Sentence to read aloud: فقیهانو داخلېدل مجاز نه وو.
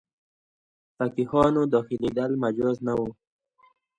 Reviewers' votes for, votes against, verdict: 2, 0, accepted